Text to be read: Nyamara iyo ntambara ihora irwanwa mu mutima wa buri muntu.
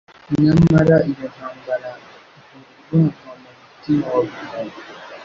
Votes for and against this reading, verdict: 1, 2, rejected